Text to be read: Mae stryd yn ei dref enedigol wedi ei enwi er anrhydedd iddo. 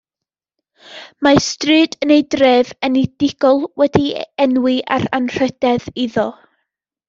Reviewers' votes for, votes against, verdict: 1, 2, rejected